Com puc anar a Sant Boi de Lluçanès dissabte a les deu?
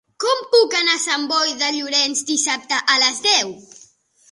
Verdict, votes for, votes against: rejected, 0, 2